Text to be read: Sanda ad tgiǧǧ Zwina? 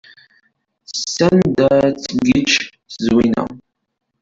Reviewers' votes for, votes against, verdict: 0, 2, rejected